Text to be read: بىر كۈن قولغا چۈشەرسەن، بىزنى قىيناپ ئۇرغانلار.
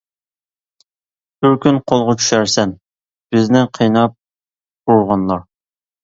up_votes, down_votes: 2, 1